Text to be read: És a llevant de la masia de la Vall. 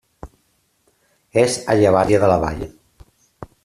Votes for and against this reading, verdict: 0, 2, rejected